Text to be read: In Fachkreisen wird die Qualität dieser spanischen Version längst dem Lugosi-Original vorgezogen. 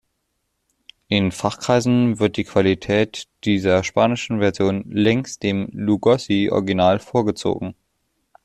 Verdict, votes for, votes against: accepted, 2, 0